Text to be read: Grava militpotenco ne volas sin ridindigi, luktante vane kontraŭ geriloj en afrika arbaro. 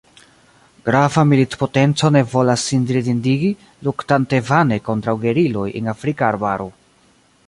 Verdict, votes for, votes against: accepted, 3, 0